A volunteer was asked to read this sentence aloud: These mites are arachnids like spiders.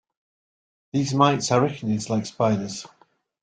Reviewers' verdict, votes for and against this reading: accepted, 2, 1